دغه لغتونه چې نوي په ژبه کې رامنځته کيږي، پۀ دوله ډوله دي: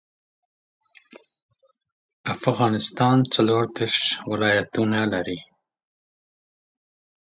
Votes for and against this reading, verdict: 0, 2, rejected